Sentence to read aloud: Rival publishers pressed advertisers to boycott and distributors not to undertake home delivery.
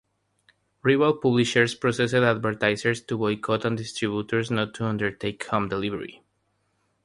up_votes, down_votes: 0, 3